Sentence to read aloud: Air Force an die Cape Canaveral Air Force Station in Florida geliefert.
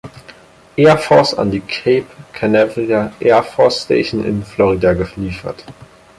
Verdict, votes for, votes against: accepted, 4, 0